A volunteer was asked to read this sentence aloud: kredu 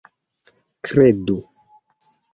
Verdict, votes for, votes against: rejected, 1, 2